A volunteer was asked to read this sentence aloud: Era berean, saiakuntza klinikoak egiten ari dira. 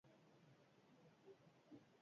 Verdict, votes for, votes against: rejected, 0, 4